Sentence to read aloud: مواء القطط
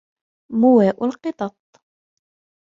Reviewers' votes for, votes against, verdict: 2, 0, accepted